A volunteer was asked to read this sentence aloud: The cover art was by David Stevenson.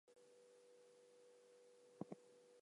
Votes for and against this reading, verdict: 0, 4, rejected